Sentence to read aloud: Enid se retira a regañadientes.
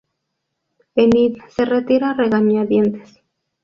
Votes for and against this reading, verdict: 2, 0, accepted